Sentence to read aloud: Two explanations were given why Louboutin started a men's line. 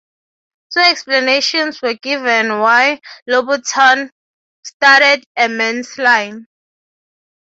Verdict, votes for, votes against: accepted, 3, 0